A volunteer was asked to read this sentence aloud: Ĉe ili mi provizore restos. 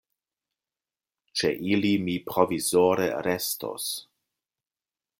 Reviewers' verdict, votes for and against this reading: accepted, 2, 0